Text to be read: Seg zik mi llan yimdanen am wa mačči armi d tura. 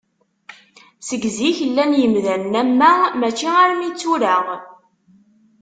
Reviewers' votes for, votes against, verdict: 0, 2, rejected